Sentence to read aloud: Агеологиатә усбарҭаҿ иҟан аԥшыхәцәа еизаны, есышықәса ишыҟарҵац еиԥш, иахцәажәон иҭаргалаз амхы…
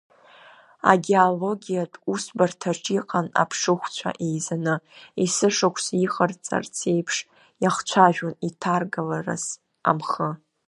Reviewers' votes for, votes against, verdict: 0, 2, rejected